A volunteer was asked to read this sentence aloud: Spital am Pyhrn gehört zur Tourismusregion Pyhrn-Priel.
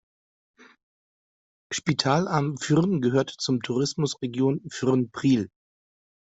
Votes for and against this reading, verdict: 2, 0, accepted